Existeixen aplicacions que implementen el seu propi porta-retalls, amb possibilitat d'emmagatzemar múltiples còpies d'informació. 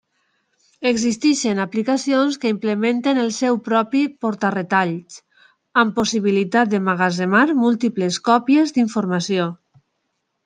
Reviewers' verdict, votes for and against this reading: accepted, 2, 0